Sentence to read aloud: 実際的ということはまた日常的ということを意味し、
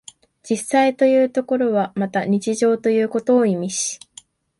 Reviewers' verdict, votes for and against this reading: rejected, 0, 2